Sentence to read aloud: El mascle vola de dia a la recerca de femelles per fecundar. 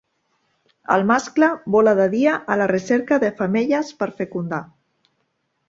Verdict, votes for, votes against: accepted, 2, 0